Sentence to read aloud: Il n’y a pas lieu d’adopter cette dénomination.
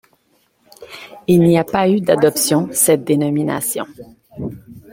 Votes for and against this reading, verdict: 0, 2, rejected